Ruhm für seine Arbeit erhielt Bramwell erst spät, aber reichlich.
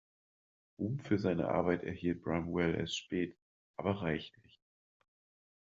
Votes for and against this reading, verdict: 1, 2, rejected